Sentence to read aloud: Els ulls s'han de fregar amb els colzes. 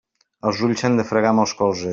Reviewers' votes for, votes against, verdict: 0, 2, rejected